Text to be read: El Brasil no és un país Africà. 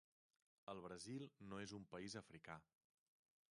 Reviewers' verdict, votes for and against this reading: rejected, 0, 3